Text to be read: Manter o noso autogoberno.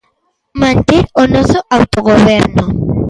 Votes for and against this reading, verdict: 2, 1, accepted